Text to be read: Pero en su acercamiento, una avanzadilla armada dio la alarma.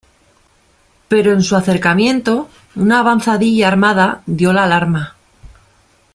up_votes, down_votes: 2, 0